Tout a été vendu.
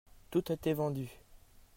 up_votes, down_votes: 1, 2